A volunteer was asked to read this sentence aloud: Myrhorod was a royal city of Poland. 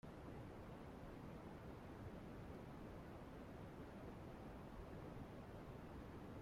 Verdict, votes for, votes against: rejected, 0, 2